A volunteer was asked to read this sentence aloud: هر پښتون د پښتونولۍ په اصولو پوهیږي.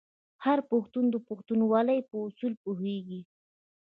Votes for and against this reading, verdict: 1, 2, rejected